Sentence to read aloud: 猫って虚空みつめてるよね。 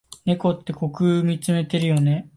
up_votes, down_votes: 2, 0